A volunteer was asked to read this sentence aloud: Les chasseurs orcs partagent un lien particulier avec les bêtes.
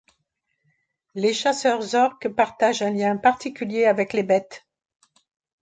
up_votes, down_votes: 2, 0